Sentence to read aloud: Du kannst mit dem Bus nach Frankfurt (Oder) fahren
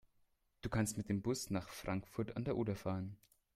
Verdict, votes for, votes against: accepted, 2, 1